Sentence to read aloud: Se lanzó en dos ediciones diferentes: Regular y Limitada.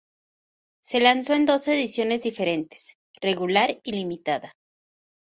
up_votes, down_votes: 2, 0